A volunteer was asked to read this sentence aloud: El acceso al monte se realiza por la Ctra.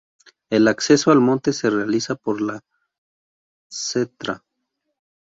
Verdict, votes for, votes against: rejected, 0, 2